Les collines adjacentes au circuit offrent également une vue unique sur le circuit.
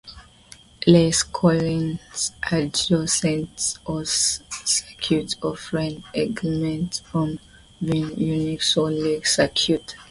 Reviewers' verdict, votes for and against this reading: rejected, 1, 2